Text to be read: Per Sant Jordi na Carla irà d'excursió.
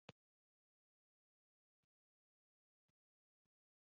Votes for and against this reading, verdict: 4, 8, rejected